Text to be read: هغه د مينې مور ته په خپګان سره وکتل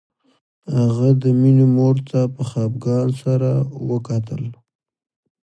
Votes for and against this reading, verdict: 2, 0, accepted